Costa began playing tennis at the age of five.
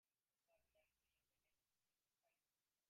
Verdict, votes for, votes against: rejected, 0, 4